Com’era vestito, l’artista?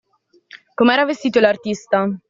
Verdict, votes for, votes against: accepted, 2, 0